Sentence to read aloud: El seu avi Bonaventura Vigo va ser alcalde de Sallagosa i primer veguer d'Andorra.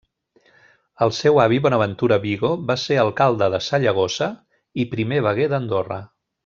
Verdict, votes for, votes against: rejected, 1, 2